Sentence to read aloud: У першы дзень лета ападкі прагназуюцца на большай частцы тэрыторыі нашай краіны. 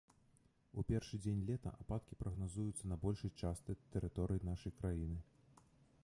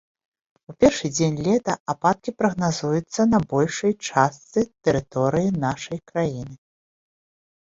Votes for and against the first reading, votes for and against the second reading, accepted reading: 1, 2, 2, 0, second